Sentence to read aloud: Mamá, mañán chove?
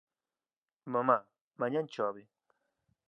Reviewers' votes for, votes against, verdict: 2, 0, accepted